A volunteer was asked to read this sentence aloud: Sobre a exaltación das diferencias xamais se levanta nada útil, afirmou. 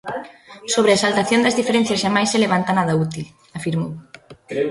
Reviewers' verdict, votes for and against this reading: rejected, 0, 2